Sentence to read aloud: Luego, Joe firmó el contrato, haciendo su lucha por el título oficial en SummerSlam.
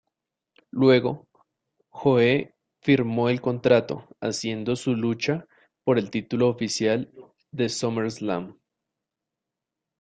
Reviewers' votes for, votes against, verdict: 1, 2, rejected